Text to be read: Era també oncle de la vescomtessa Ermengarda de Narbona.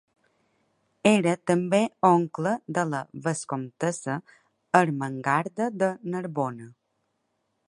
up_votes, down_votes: 2, 0